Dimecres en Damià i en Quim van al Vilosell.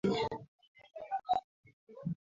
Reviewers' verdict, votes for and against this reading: rejected, 0, 2